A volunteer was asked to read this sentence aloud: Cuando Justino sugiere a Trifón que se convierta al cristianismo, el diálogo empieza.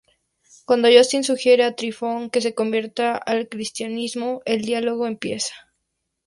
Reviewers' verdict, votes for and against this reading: rejected, 0, 2